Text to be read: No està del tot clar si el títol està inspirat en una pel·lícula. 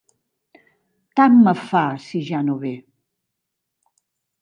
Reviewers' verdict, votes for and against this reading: rejected, 0, 2